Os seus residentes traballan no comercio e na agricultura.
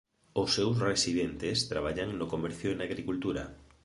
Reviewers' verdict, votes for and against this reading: rejected, 1, 2